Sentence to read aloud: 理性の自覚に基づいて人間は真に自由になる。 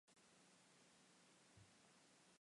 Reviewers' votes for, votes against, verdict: 0, 2, rejected